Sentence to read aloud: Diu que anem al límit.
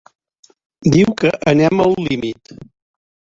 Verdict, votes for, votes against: accepted, 2, 1